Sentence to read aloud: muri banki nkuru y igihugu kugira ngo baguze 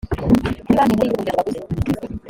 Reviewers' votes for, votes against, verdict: 0, 2, rejected